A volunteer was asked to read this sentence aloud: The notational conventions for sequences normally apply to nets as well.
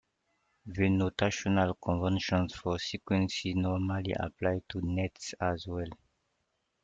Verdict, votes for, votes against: accepted, 2, 1